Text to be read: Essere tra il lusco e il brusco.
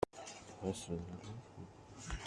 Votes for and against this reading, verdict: 0, 2, rejected